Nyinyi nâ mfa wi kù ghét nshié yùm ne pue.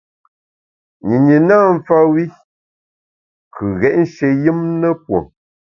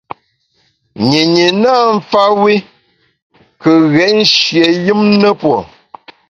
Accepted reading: second